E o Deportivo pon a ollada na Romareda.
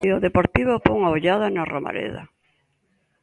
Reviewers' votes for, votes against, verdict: 2, 0, accepted